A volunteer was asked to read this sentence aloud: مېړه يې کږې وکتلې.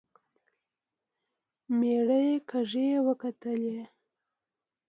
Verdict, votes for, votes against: accepted, 2, 0